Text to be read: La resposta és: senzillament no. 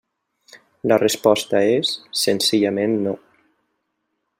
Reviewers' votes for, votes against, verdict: 0, 2, rejected